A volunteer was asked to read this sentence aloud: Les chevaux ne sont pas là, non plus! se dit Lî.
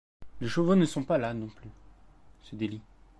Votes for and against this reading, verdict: 2, 0, accepted